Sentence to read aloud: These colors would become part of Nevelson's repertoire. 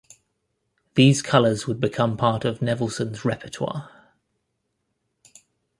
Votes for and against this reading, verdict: 2, 0, accepted